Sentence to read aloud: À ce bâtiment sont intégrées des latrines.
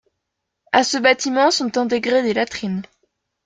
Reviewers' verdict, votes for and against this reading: accepted, 2, 0